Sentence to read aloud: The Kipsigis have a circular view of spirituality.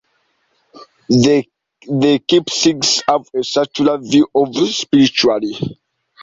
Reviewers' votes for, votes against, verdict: 0, 2, rejected